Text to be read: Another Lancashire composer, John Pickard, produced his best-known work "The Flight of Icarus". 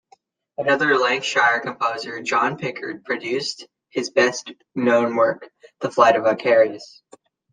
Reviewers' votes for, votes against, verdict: 1, 2, rejected